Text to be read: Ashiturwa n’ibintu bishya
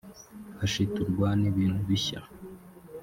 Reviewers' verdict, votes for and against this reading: rejected, 0, 2